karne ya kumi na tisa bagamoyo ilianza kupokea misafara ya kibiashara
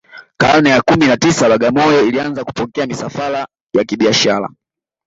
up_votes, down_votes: 2, 1